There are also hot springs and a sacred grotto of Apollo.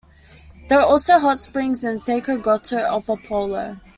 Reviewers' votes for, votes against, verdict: 2, 1, accepted